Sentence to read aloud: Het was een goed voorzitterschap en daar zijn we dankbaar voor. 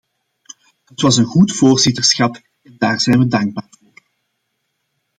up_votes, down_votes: 2, 0